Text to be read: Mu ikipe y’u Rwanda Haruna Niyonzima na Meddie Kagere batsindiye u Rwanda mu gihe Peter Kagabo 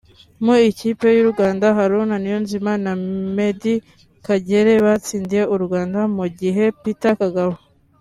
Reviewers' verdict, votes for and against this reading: accepted, 3, 0